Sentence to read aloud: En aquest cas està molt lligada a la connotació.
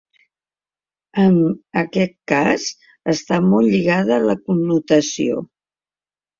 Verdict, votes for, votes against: accepted, 2, 0